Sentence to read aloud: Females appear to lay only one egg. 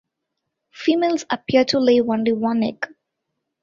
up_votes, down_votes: 0, 2